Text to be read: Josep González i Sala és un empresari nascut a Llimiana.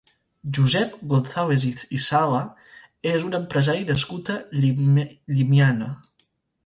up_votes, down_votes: 1, 3